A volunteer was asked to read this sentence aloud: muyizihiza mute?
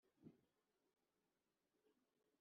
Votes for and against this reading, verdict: 2, 0, accepted